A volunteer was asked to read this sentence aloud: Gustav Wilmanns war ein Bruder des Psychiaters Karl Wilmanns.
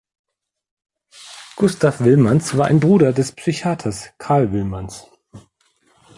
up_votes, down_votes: 2, 0